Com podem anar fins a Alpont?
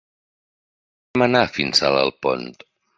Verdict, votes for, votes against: rejected, 0, 2